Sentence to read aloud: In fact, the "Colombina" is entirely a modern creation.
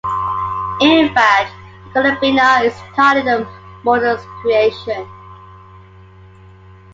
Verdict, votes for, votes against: rejected, 0, 2